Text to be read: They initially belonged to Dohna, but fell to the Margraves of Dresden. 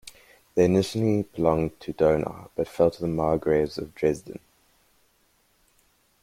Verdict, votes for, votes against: accepted, 2, 0